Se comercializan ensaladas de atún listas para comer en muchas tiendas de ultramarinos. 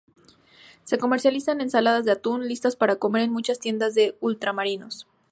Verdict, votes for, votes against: accepted, 2, 0